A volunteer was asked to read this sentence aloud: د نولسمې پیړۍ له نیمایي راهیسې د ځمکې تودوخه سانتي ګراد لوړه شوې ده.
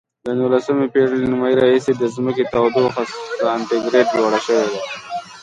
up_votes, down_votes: 2, 0